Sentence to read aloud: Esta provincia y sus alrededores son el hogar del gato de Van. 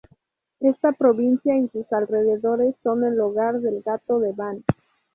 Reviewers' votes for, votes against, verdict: 2, 0, accepted